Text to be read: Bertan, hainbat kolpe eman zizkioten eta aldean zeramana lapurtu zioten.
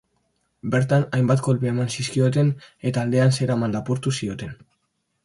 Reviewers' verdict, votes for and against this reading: rejected, 1, 2